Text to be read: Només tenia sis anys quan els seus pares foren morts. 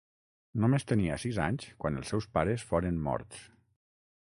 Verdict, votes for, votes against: accepted, 6, 0